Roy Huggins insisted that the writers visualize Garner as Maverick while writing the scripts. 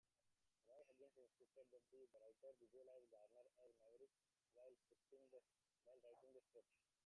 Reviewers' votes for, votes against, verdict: 0, 2, rejected